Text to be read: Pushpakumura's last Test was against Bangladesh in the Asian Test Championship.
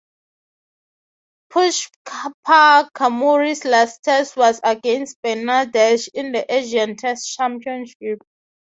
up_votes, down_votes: 0, 3